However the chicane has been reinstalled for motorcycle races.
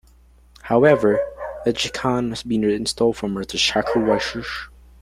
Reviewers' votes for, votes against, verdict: 0, 2, rejected